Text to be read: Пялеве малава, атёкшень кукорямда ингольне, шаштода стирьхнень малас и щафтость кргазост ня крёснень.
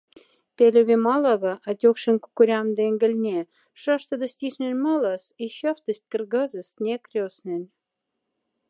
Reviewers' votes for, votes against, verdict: 2, 0, accepted